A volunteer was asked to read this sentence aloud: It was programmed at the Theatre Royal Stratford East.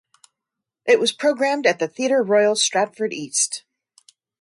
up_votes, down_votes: 2, 0